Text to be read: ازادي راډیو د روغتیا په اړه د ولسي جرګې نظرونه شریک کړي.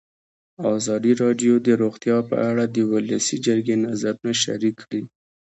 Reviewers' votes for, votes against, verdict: 2, 0, accepted